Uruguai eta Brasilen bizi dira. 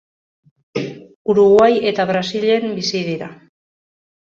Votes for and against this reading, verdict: 2, 0, accepted